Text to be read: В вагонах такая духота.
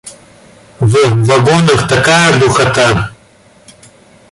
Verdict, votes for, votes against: accepted, 2, 0